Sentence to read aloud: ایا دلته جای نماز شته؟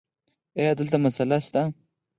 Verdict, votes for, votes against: rejected, 2, 4